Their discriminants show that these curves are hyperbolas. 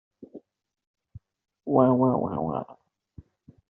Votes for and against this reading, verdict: 0, 2, rejected